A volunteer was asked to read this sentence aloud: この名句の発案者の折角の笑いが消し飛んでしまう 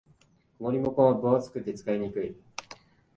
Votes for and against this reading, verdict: 0, 2, rejected